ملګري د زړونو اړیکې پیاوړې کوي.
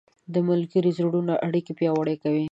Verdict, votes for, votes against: rejected, 0, 2